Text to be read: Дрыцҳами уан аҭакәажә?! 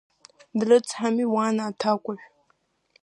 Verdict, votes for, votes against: accepted, 2, 1